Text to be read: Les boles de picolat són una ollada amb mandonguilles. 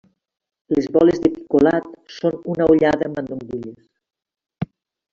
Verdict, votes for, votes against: rejected, 1, 2